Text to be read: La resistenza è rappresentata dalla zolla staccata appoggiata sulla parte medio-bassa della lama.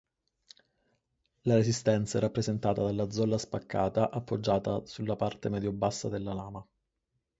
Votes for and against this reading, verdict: 2, 2, rejected